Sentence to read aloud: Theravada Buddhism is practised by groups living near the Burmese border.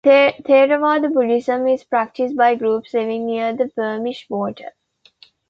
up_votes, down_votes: 2, 1